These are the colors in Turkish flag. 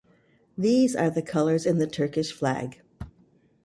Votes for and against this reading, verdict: 0, 2, rejected